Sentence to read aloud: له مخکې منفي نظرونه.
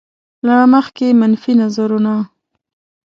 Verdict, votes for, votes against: accepted, 2, 1